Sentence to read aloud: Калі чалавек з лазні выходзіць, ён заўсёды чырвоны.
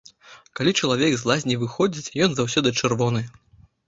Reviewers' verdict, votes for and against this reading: accepted, 2, 0